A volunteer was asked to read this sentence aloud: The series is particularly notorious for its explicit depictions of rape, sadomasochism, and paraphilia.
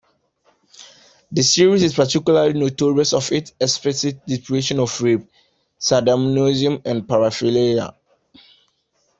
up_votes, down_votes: 1, 2